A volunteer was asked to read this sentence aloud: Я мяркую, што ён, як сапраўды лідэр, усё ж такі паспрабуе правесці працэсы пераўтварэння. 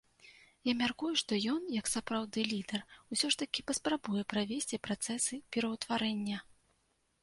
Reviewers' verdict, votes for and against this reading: accepted, 2, 0